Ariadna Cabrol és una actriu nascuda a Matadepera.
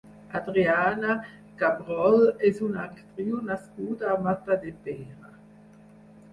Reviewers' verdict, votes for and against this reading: rejected, 2, 4